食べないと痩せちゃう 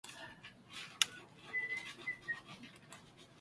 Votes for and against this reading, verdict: 0, 2, rejected